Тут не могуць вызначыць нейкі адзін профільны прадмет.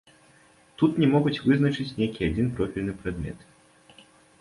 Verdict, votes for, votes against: rejected, 1, 2